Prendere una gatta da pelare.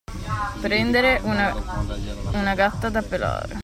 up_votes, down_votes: 0, 2